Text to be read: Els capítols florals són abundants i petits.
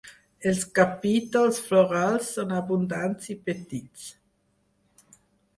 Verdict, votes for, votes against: accepted, 4, 0